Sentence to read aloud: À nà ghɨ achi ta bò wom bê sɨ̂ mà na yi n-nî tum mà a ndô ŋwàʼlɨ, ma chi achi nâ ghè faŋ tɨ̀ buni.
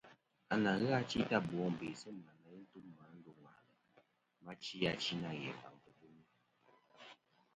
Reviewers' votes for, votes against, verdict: 1, 2, rejected